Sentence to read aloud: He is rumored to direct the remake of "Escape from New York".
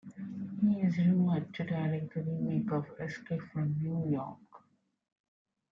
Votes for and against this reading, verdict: 3, 2, accepted